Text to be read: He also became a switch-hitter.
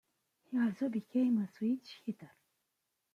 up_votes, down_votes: 2, 0